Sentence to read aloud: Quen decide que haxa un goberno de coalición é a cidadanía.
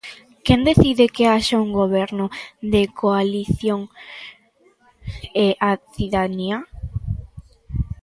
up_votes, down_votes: 1, 2